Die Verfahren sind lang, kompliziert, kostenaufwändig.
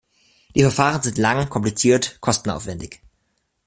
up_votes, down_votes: 2, 1